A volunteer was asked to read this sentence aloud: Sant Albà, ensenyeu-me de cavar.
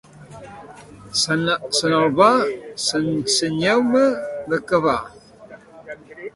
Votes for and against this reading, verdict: 0, 2, rejected